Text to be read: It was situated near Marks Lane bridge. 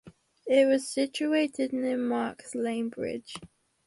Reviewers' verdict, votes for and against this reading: accepted, 4, 0